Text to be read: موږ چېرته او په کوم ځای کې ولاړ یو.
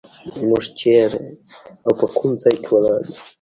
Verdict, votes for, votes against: rejected, 1, 2